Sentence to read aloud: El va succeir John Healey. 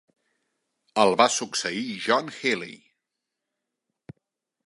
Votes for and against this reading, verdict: 2, 0, accepted